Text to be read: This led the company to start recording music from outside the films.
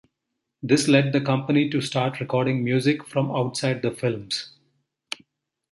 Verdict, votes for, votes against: accepted, 2, 0